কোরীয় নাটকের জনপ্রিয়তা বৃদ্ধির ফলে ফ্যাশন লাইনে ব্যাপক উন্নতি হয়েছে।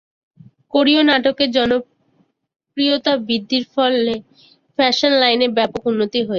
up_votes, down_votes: 2, 0